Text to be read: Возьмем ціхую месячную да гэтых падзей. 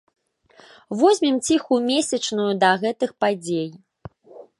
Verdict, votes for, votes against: accepted, 2, 0